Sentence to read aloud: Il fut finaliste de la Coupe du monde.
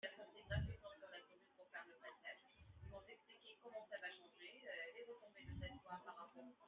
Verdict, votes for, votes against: rejected, 0, 2